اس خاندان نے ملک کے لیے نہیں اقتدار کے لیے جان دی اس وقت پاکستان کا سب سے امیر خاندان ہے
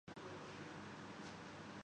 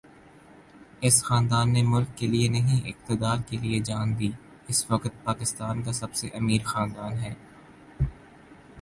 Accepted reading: second